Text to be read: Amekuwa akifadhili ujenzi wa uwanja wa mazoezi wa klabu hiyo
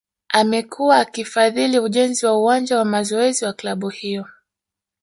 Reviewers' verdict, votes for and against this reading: rejected, 0, 2